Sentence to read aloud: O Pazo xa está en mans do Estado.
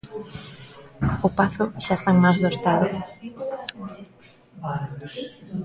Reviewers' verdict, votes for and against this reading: rejected, 0, 2